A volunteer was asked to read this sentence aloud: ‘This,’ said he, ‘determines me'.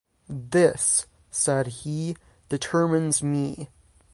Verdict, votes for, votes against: accepted, 3, 0